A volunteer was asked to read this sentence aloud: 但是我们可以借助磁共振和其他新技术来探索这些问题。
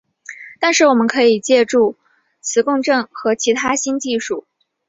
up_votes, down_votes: 2, 0